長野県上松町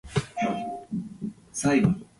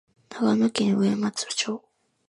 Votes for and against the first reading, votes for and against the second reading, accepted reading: 0, 2, 2, 0, second